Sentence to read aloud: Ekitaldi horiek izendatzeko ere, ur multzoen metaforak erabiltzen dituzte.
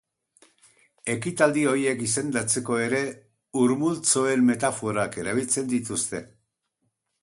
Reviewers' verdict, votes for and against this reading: rejected, 0, 2